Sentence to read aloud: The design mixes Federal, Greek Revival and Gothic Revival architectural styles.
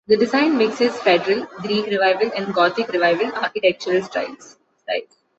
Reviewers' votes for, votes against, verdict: 0, 2, rejected